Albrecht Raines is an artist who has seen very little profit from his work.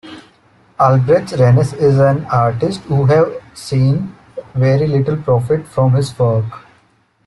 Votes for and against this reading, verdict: 2, 0, accepted